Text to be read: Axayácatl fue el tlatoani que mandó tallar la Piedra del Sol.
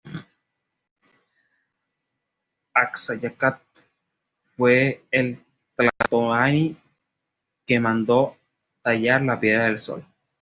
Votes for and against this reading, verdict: 2, 0, accepted